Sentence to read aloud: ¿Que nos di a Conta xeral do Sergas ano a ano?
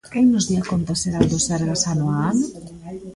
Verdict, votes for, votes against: rejected, 0, 2